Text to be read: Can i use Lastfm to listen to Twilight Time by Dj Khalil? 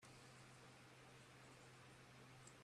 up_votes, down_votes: 1, 24